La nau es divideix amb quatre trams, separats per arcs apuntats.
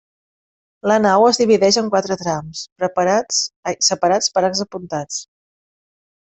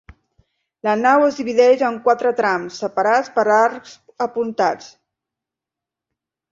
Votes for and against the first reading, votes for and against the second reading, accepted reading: 0, 2, 3, 0, second